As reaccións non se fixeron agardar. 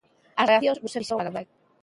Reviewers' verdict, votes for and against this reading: rejected, 1, 2